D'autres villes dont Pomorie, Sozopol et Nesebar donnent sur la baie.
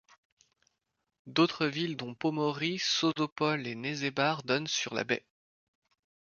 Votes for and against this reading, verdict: 2, 0, accepted